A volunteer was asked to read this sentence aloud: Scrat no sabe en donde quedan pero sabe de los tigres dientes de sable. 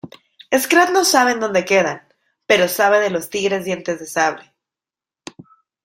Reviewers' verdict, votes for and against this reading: accepted, 2, 0